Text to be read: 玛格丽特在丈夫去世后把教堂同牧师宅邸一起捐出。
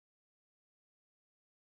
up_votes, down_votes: 0, 2